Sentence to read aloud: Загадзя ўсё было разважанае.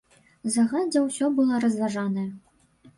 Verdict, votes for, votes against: rejected, 1, 2